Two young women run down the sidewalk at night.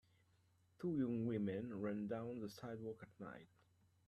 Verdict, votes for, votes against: accepted, 2, 1